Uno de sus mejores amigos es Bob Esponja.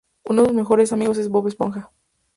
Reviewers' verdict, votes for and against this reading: rejected, 0, 2